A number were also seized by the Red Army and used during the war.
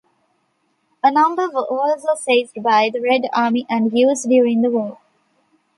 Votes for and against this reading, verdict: 0, 2, rejected